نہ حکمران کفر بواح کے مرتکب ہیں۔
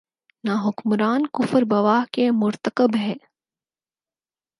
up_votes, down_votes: 4, 0